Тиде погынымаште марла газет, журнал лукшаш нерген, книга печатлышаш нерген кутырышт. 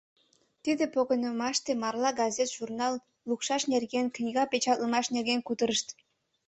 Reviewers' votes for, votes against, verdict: 1, 2, rejected